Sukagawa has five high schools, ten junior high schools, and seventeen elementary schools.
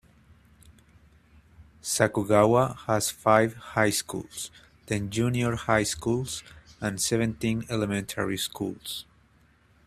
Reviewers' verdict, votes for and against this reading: rejected, 1, 2